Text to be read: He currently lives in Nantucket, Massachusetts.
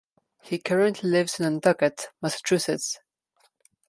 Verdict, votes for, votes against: rejected, 1, 2